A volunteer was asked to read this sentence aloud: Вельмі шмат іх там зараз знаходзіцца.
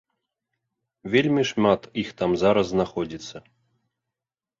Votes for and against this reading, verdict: 3, 0, accepted